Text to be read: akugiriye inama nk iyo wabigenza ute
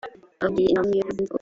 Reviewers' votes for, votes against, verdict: 3, 0, accepted